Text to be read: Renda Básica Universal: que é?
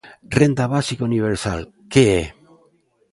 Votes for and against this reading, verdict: 2, 0, accepted